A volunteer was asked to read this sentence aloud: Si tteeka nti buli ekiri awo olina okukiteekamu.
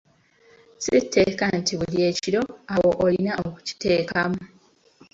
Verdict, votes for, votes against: rejected, 1, 2